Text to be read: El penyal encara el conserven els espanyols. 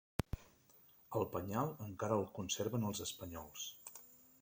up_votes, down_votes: 0, 2